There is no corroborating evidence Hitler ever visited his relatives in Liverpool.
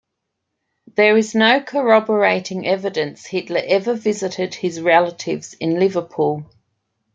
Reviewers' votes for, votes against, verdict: 2, 0, accepted